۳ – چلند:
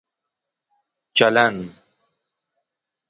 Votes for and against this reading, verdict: 0, 2, rejected